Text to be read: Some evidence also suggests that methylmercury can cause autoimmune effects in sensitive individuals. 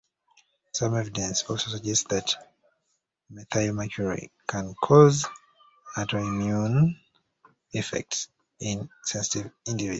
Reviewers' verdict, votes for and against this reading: rejected, 0, 2